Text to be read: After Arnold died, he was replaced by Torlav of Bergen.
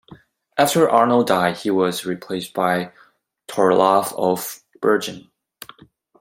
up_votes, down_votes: 2, 1